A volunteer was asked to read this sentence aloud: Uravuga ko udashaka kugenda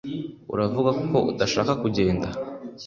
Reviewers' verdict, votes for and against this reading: accepted, 2, 0